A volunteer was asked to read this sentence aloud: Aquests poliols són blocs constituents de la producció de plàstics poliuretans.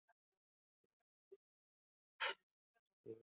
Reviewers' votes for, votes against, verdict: 0, 2, rejected